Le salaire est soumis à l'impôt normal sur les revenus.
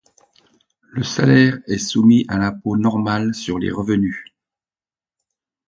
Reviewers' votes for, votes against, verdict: 2, 0, accepted